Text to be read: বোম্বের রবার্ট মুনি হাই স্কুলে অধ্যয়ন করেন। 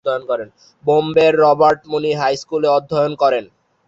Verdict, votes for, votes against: rejected, 1, 2